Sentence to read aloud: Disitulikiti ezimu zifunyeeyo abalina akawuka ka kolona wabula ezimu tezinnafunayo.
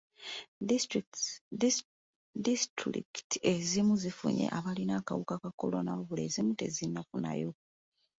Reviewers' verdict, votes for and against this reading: rejected, 1, 2